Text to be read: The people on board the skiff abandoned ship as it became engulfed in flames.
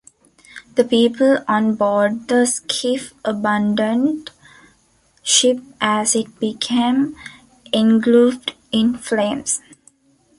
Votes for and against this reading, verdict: 1, 2, rejected